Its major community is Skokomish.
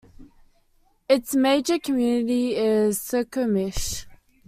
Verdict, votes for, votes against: accepted, 2, 0